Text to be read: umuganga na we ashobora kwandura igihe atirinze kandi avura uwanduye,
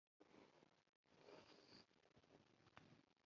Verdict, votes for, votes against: rejected, 0, 2